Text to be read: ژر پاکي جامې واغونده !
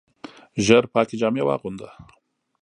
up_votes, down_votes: 2, 0